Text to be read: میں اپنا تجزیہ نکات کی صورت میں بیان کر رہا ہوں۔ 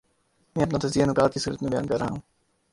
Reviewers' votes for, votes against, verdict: 0, 2, rejected